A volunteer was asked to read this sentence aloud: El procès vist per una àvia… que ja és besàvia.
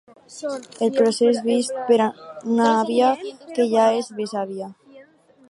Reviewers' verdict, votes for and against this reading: rejected, 2, 4